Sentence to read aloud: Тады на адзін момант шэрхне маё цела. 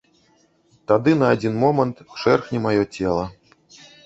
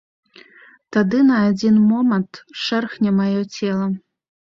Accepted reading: second